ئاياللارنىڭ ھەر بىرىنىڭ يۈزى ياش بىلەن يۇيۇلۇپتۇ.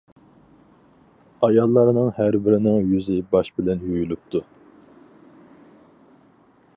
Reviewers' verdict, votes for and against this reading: rejected, 2, 4